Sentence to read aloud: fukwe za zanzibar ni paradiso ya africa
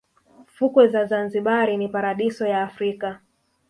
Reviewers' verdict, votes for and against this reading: rejected, 1, 2